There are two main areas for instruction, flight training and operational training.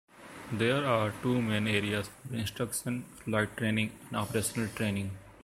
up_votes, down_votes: 2, 1